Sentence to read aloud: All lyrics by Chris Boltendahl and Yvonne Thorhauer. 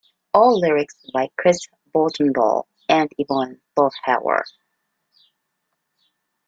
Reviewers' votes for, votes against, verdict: 1, 2, rejected